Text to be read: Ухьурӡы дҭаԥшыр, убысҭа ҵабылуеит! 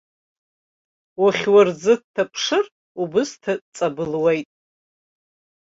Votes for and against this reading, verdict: 2, 0, accepted